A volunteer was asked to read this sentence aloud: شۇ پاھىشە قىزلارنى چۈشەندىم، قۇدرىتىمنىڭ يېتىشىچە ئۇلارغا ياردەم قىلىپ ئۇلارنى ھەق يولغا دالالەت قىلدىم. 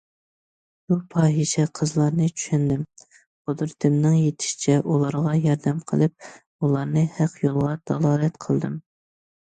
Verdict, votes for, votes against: accepted, 2, 0